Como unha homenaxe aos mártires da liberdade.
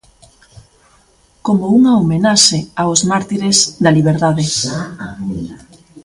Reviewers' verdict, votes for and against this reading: rejected, 0, 2